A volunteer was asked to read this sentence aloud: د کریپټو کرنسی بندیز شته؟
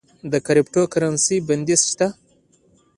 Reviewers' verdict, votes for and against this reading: accepted, 2, 0